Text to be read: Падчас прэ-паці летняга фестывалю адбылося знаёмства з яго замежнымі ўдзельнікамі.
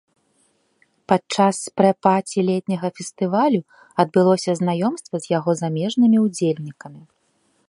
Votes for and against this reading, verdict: 2, 0, accepted